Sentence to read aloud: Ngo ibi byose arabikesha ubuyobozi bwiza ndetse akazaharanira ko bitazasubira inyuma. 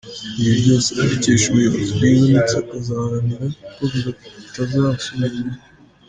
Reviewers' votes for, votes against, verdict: 2, 0, accepted